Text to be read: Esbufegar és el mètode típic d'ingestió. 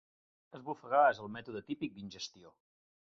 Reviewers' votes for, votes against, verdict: 2, 0, accepted